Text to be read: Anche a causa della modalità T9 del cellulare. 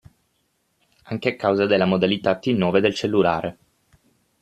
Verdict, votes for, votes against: rejected, 0, 2